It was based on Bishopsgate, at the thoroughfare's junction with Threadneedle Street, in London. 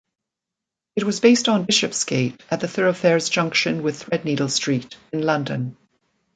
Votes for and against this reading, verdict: 1, 2, rejected